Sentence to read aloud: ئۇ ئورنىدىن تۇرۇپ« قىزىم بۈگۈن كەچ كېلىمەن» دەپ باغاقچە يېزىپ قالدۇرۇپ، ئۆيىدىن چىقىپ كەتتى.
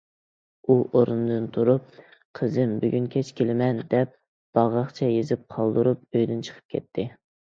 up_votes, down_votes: 2, 0